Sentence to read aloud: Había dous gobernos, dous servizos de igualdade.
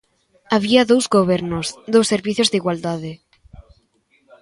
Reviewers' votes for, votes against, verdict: 1, 2, rejected